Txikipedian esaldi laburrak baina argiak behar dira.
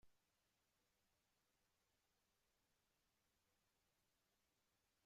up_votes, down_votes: 0, 2